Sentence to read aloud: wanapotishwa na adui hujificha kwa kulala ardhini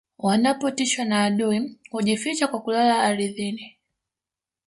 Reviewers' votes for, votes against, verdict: 1, 2, rejected